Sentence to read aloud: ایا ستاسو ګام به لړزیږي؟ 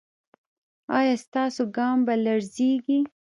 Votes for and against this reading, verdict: 2, 2, rejected